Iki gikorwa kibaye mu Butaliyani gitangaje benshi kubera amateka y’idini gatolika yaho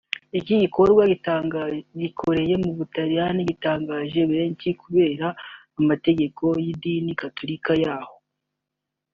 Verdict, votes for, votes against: rejected, 0, 2